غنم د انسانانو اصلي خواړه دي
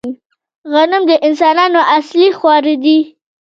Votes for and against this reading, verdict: 1, 2, rejected